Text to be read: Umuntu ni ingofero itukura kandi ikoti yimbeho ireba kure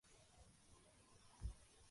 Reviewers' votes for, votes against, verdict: 0, 2, rejected